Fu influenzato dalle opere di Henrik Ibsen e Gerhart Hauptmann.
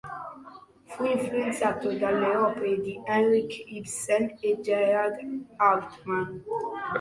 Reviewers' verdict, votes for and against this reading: accepted, 2, 1